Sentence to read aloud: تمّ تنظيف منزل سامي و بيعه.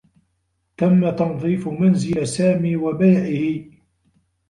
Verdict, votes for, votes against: rejected, 0, 2